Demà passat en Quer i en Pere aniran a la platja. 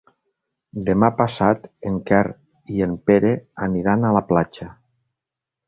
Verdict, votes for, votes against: accepted, 3, 0